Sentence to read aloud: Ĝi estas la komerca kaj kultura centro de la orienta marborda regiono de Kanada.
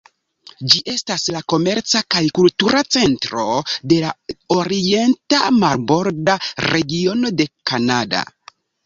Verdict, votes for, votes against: accepted, 2, 0